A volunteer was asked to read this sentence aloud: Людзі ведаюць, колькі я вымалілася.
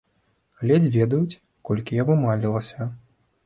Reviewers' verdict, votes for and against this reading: rejected, 1, 2